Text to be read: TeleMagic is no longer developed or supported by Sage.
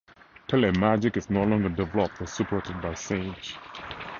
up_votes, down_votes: 2, 0